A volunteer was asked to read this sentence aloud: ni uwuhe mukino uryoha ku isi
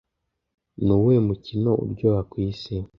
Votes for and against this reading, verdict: 2, 0, accepted